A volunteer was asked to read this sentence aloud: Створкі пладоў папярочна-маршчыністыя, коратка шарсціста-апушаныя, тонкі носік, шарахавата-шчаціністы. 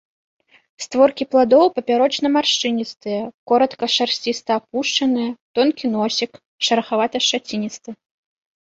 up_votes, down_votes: 2, 1